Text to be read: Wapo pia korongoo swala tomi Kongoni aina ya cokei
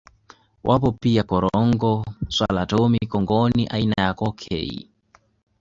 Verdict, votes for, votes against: accepted, 2, 0